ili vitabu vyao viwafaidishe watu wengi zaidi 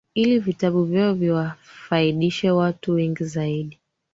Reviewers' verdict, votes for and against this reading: accepted, 3, 2